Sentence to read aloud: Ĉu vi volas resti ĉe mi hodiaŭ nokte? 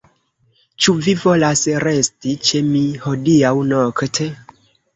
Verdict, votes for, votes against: accepted, 2, 1